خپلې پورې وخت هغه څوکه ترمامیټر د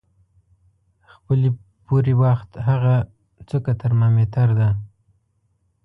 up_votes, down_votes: 0, 2